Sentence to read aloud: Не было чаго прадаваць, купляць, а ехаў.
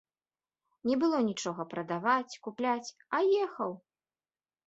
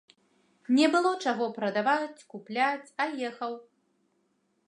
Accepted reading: second